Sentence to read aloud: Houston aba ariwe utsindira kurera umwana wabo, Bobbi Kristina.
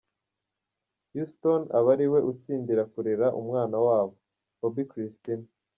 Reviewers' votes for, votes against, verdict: 2, 0, accepted